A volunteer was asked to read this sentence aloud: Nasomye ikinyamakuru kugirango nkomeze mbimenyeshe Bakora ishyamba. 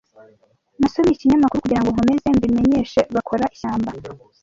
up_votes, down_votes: 0, 2